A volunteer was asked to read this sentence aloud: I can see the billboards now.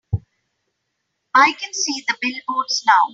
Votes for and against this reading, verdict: 3, 0, accepted